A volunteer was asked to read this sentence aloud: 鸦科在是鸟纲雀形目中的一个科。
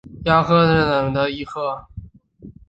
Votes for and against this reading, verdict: 1, 2, rejected